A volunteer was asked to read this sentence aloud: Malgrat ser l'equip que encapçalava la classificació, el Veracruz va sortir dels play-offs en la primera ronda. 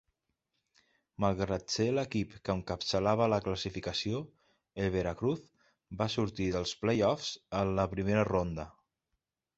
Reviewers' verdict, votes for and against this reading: accepted, 2, 0